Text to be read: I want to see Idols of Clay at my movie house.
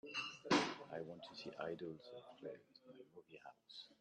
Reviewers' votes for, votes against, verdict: 0, 2, rejected